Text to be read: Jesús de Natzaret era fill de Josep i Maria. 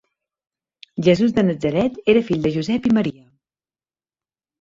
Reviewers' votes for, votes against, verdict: 1, 2, rejected